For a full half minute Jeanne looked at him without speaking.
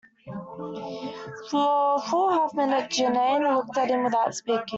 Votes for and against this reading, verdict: 0, 2, rejected